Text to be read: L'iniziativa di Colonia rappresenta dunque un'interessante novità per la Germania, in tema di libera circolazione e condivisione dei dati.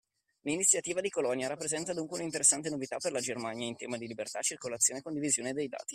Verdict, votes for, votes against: rejected, 0, 2